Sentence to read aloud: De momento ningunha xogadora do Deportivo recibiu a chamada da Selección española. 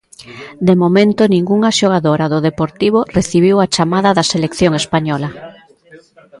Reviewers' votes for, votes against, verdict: 2, 0, accepted